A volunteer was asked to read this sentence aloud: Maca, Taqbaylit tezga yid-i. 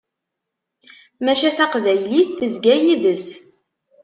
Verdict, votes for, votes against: rejected, 0, 2